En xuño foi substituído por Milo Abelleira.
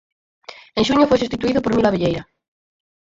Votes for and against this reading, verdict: 4, 0, accepted